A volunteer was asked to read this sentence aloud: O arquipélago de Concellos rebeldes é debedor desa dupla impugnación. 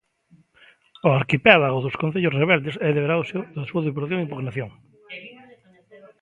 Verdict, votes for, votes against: rejected, 0, 2